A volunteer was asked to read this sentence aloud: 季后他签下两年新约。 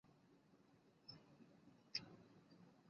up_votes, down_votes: 0, 2